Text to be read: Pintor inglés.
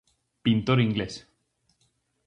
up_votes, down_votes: 4, 0